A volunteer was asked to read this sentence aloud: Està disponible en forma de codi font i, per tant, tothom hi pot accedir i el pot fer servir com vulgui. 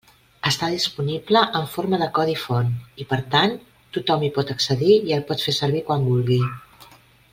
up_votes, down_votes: 0, 2